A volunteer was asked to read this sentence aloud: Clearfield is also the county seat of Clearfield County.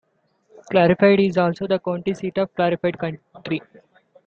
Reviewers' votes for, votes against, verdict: 2, 3, rejected